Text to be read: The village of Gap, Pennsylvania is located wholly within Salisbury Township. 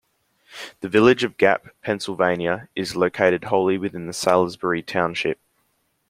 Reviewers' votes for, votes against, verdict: 2, 0, accepted